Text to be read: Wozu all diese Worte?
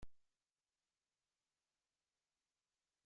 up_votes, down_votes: 0, 2